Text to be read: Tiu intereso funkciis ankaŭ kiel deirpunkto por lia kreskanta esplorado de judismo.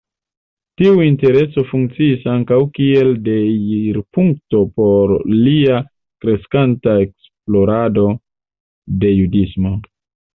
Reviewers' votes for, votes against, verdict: 2, 0, accepted